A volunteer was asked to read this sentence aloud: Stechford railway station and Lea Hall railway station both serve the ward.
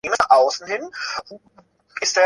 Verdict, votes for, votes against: rejected, 0, 2